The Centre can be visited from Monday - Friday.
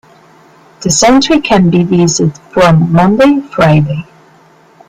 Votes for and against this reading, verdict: 1, 2, rejected